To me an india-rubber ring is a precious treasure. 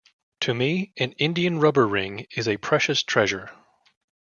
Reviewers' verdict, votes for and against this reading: rejected, 1, 2